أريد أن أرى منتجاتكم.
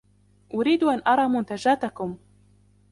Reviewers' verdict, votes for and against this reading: accepted, 2, 0